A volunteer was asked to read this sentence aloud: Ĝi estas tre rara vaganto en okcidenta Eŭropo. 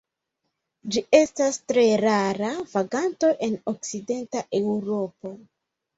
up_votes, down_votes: 2, 0